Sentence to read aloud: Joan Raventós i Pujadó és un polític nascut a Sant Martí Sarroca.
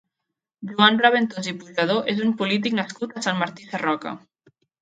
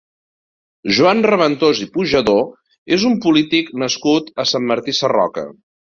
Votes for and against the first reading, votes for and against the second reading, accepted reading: 0, 2, 2, 0, second